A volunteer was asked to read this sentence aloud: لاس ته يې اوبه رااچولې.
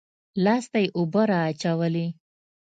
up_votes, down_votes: 2, 0